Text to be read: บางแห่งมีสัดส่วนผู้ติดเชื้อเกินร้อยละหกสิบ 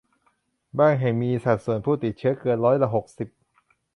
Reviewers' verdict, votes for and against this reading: accepted, 2, 0